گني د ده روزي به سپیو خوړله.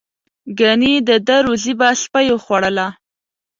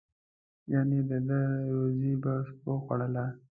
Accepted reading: first